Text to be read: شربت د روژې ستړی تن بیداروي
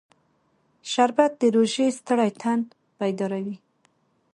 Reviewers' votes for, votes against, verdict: 2, 0, accepted